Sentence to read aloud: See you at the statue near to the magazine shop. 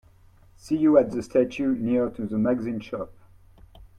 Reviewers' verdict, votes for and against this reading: accepted, 2, 0